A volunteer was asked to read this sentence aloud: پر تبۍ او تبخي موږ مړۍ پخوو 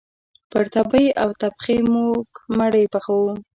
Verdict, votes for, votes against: accepted, 2, 0